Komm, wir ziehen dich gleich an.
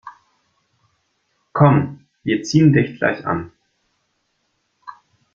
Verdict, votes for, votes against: accepted, 2, 0